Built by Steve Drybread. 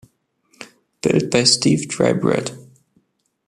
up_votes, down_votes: 2, 0